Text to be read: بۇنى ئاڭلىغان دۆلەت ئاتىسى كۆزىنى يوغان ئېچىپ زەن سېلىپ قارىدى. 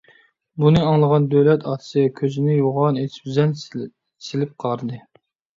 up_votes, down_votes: 0, 2